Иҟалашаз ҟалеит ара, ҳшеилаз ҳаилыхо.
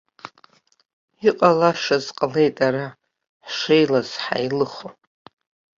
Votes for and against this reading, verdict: 2, 0, accepted